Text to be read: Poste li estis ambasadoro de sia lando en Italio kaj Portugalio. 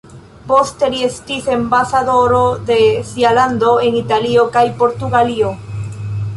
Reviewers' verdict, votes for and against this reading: accepted, 2, 0